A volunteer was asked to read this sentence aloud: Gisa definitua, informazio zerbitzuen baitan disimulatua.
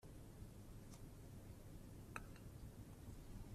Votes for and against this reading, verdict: 0, 4, rejected